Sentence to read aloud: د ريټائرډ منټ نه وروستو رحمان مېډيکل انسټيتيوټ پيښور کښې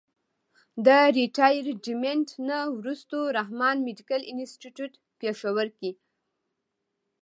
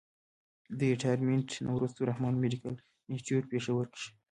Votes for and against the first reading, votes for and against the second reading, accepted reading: 2, 0, 1, 2, first